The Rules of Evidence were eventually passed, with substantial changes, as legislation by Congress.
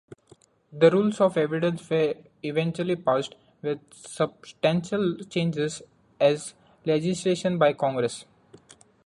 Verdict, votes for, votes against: accepted, 2, 0